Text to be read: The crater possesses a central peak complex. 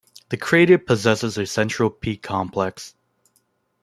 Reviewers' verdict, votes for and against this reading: accepted, 2, 0